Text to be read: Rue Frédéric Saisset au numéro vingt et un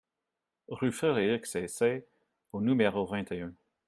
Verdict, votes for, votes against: rejected, 0, 2